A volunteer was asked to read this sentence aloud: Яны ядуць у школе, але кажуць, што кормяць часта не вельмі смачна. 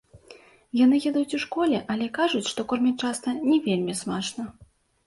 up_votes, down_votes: 2, 0